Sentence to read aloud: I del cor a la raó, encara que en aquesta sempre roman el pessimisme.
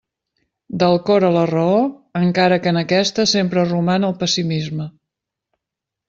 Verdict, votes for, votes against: rejected, 1, 2